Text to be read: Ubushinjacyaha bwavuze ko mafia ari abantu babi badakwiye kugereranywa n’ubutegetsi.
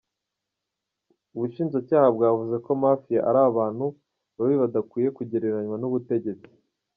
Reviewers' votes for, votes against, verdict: 1, 2, rejected